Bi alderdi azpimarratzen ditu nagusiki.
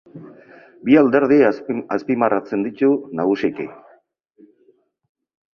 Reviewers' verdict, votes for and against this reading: rejected, 0, 2